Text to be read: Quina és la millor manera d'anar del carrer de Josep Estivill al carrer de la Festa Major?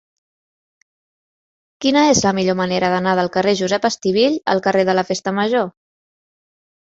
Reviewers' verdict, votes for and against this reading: rejected, 1, 2